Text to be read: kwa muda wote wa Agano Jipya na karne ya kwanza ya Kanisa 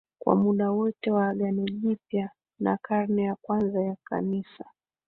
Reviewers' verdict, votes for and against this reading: rejected, 2, 3